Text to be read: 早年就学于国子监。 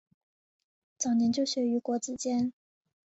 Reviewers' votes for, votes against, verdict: 2, 0, accepted